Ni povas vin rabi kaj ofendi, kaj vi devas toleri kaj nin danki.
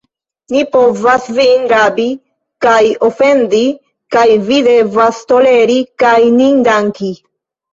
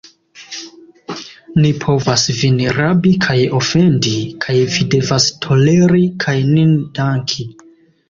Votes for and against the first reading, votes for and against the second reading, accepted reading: 1, 2, 2, 0, second